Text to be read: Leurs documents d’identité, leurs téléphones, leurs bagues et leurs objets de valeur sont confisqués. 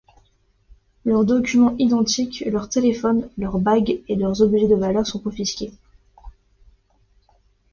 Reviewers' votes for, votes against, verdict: 1, 2, rejected